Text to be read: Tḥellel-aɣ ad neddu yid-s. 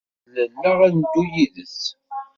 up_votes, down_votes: 0, 2